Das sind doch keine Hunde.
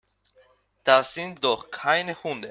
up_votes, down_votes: 2, 1